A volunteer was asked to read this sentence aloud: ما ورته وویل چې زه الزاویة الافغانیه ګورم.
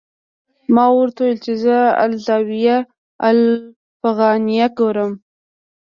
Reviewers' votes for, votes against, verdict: 3, 0, accepted